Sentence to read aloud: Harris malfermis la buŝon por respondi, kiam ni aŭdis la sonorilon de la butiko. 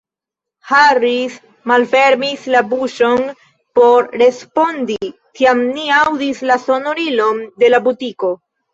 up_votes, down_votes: 1, 2